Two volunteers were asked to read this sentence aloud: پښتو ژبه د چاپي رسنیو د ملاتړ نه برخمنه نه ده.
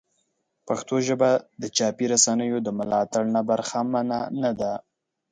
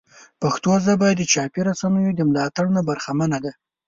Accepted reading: first